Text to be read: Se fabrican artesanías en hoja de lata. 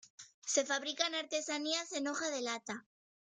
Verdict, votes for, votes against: accepted, 2, 0